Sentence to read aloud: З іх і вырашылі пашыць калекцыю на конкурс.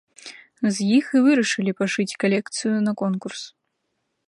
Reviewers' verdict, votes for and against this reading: accepted, 2, 0